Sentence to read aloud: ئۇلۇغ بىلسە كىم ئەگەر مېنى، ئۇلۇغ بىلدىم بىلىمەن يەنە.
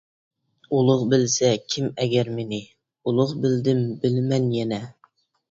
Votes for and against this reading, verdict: 2, 0, accepted